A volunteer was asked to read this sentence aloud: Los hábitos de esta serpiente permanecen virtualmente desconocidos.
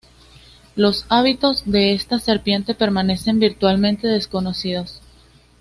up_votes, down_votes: 2, 0